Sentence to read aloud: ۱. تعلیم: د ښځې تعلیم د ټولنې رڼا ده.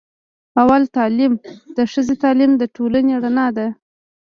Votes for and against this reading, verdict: 0, 2, rejected